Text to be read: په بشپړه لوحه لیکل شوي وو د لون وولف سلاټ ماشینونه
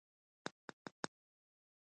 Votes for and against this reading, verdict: 1, 2, rejected